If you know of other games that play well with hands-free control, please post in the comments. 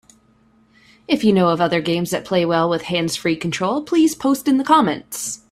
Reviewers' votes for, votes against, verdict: 2, 0, accepted